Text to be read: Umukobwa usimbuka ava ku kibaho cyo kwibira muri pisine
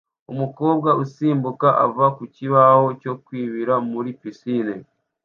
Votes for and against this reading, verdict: 2, 0, accepted